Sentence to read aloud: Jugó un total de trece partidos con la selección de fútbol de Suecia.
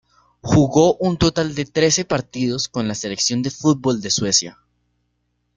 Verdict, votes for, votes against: accepted, 3, 0